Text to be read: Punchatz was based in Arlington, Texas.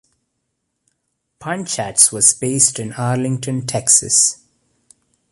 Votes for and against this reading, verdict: 2, 0, accepted